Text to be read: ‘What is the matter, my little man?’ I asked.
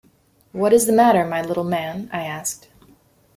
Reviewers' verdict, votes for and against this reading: accepted, 2, 0